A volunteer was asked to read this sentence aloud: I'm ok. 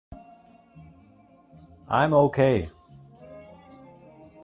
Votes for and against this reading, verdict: 2, 0, accepted